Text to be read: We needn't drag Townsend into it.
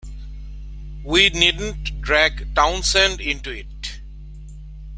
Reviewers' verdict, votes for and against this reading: accepted, 3, 0